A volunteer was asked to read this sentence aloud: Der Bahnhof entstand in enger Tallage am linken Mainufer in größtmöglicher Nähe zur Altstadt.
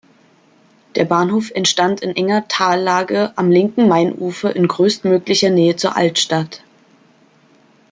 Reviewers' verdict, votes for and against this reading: accepted, 2, 0